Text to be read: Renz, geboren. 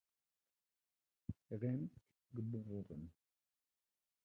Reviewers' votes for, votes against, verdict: 0, 2, rejected